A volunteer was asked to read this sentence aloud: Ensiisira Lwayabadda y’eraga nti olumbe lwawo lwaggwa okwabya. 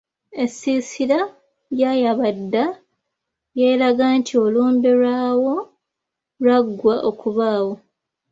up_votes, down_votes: 0, 2